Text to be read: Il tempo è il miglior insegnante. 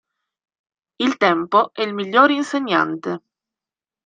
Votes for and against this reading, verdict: 2, 0, accepted